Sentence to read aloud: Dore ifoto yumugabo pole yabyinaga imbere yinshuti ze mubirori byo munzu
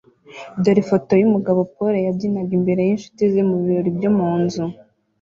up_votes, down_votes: 2, 0